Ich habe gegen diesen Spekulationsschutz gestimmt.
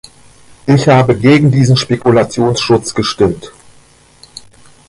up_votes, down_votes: 2, 0